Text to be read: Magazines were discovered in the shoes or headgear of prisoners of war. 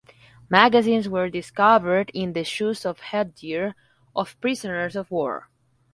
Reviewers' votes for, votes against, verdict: 4, 0, accepted